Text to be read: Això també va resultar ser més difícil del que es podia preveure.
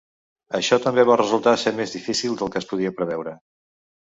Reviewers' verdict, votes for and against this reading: accepted, 2, 0